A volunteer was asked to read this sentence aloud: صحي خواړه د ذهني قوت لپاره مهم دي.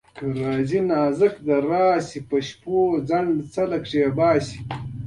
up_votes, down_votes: 1, 2